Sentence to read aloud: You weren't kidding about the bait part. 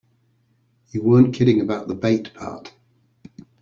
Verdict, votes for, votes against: accepted, 2, 0